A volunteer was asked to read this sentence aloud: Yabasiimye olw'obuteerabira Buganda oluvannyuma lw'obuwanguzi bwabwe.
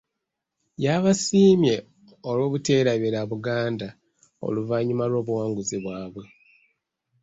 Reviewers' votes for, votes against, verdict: 0, 2, rejected